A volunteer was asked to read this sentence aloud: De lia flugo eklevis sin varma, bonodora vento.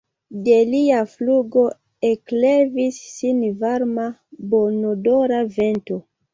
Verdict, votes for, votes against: accepted, 2, 0